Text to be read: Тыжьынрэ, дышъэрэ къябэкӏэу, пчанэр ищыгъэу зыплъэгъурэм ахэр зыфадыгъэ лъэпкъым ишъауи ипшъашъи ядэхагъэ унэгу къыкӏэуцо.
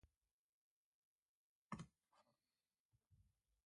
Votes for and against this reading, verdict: 0, 2, rejected